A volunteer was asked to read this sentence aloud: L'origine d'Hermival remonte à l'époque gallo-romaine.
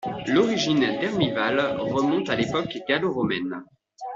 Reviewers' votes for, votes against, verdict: 2, 0, accepted